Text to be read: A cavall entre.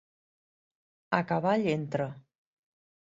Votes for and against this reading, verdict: 3, 0, accepted